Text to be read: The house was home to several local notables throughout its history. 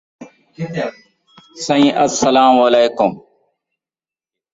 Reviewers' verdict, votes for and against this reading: rejected, 1, 2